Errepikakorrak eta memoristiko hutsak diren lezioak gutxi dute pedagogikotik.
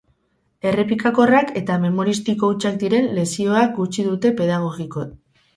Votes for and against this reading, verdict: 2, 4, rejected